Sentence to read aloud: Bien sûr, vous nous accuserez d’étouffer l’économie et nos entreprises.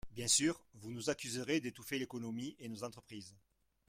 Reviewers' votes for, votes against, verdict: 0, 2, rejected